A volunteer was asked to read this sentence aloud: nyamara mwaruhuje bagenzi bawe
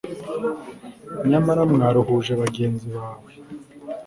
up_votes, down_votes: 2, 0